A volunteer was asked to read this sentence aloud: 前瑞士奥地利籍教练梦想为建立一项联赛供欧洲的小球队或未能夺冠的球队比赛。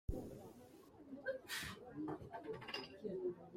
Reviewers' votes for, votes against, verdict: 0, 2, rejected